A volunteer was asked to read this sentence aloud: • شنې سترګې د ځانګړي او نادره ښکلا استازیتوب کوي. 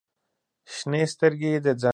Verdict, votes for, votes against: rejected, 0, 2